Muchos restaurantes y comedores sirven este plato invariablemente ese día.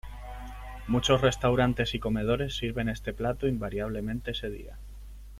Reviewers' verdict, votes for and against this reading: accepted, 2, 0